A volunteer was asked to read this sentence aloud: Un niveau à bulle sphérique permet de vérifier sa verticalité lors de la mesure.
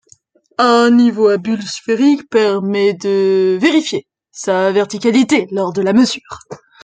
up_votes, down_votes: 2, 1